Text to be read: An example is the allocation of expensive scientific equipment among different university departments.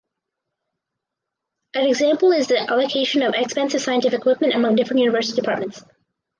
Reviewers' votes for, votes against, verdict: 4, 0, accepted